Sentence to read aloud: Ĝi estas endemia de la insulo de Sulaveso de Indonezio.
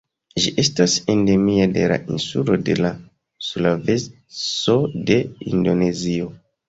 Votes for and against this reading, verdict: 2, 0, accepted